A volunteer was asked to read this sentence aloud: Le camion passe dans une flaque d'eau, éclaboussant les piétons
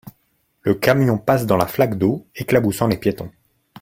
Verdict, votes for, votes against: rejected, 0, 2